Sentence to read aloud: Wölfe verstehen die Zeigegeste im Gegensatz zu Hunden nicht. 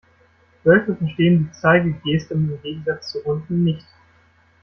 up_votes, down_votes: 2, 0